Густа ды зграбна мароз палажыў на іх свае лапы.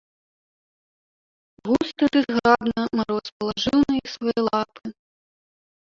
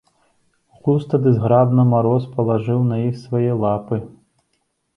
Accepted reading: second